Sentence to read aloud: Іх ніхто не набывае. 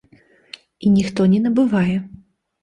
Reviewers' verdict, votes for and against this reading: rejected, 1, 2